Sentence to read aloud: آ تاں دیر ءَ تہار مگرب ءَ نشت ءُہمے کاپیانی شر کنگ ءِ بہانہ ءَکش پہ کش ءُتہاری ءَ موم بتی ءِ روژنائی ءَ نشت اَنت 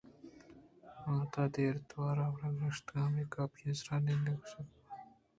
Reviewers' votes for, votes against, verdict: 1, 3, rejected